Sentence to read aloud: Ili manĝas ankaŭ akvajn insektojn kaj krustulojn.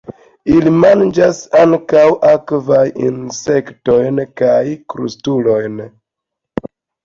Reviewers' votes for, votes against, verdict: 1, 2, rejected